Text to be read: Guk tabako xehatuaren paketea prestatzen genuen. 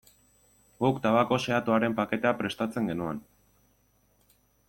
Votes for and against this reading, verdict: 2, 0, accepted